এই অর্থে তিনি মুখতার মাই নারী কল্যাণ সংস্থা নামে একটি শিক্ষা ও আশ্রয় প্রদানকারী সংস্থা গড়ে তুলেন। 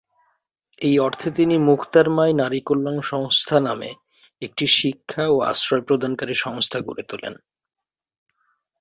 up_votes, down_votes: 2, 0